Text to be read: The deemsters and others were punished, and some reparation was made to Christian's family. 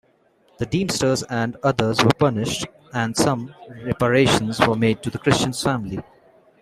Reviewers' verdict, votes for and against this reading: rejected, 1, 2